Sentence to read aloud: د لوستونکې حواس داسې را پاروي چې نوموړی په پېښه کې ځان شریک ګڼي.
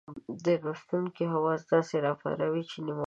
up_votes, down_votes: 1, 2